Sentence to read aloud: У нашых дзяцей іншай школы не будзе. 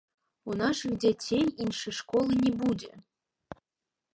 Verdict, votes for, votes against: accepted, 2, 0